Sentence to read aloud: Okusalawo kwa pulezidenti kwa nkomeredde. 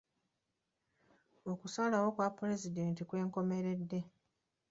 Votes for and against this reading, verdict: 2, 0, accepted